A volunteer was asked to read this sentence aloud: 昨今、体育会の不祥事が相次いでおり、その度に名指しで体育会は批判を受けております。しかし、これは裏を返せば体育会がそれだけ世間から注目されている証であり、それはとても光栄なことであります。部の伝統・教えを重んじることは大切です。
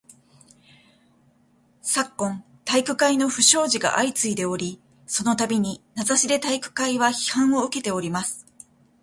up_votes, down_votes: 0, 2